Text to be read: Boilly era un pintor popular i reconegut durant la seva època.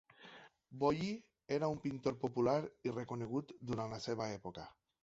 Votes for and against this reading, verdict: 2, 0, accepted